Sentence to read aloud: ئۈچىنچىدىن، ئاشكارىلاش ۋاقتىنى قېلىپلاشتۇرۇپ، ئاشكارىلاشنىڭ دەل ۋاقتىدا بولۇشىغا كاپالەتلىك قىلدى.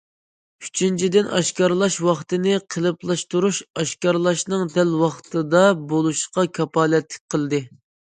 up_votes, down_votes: 0, 2